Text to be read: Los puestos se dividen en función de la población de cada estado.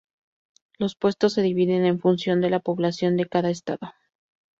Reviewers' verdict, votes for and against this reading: rejected, 0, 2